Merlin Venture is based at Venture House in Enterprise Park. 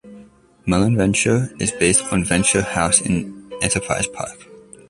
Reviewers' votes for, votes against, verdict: 1, 2, rejected